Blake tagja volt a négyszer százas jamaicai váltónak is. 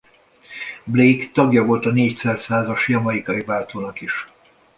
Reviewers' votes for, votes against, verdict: 2, 0, accepted